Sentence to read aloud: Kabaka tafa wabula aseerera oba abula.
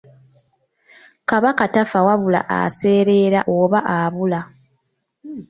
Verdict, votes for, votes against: rejected, 0, 2